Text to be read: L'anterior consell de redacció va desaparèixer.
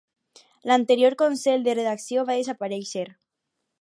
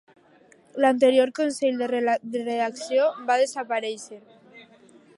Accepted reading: first